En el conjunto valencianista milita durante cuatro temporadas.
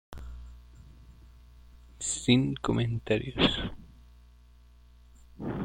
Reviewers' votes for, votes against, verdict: 0, 2, rejected